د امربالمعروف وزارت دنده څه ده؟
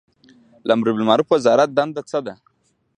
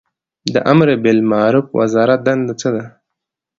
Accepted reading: second